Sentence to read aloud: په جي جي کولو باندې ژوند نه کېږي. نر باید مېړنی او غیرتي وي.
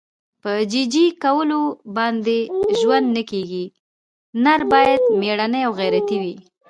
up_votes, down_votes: 2, 1